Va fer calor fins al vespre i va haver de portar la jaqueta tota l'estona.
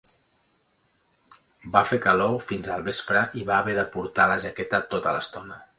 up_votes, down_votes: 3, 0